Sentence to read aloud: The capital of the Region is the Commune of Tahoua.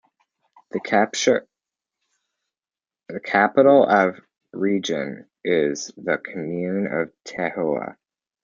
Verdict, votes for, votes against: rejected, 0, 2